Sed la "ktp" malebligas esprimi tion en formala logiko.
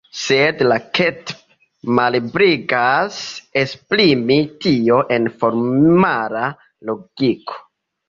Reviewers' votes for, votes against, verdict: 0, 2, rejected